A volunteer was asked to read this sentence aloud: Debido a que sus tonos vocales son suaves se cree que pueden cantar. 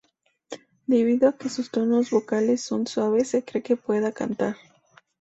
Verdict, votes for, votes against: rejected, 0, 2